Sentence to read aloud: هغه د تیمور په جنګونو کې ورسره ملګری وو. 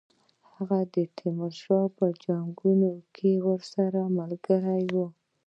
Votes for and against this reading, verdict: 2, 1, accepted